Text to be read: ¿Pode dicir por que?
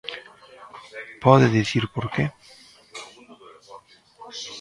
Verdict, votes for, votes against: rejected, 0, 2